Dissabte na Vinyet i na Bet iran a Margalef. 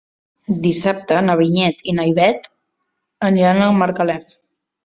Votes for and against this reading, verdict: 0, 2, rejected